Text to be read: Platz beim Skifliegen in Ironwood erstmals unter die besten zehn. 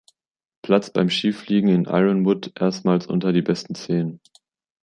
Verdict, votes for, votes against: accepted, 2, 0